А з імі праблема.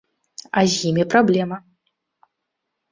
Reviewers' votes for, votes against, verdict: 2, 0, accepted